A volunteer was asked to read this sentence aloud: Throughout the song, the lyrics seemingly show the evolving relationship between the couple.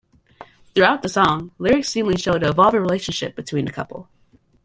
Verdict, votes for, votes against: rejected, 1, 2